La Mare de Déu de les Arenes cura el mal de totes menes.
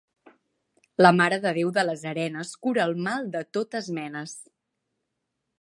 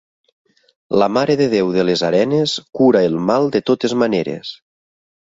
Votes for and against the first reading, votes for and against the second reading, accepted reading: 2, 0, 1, 2, first